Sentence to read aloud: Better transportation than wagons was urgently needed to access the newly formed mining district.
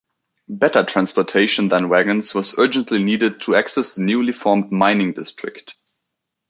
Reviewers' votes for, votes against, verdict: 0, 2, rejected